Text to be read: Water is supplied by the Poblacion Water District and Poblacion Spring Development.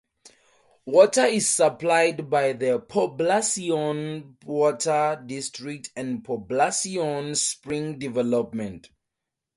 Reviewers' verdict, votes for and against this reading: accepted, 2, 0